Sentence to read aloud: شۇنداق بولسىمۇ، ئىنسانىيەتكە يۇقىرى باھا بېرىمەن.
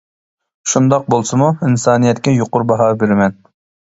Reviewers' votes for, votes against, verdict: 2, 1, accepted